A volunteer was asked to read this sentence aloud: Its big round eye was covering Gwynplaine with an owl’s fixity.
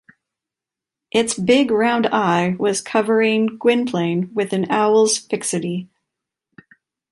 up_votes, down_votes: 2, 0